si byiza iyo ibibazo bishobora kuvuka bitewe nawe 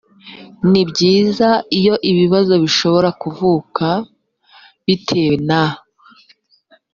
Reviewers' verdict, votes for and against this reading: rejected, 1, 3